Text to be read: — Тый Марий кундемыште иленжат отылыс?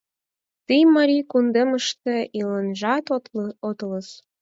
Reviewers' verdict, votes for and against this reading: rejected, 0, 4